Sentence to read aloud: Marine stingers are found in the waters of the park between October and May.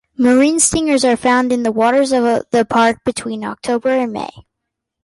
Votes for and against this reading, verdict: 2, 0, accepted